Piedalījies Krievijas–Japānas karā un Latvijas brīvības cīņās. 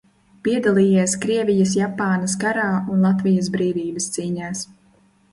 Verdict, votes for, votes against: accepted, 2, 0